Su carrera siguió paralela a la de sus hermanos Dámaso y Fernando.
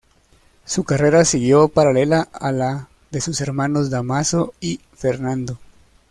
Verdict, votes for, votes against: accepted, 2, 1